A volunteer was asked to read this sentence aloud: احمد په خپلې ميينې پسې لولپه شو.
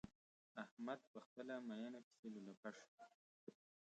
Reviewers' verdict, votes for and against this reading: accepted, 2, 0